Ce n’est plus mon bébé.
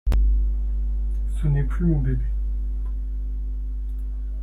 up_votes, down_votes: 1, 2